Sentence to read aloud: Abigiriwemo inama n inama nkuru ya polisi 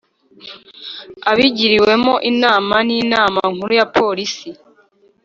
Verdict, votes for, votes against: accepted, 3, 0